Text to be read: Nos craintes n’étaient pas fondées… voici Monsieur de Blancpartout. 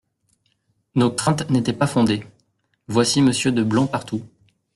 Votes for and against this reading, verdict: 2, 1, accepted